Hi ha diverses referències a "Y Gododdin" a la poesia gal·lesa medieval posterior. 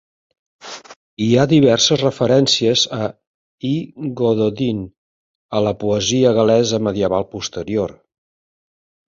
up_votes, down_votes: 2, 0